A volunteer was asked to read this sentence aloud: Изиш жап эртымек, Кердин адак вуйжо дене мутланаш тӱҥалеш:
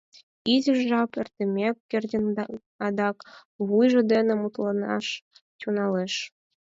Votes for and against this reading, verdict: 2, 4, rejected